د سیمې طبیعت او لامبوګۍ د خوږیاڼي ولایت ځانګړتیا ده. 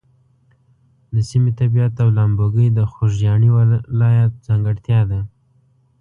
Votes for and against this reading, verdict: 2, 0, accepted